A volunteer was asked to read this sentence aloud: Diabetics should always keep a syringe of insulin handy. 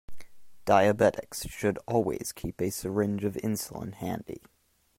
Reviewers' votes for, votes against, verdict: 2, 0, accepted